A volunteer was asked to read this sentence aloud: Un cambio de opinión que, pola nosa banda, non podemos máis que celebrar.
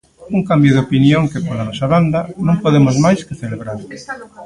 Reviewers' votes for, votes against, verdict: 0, 2, rejected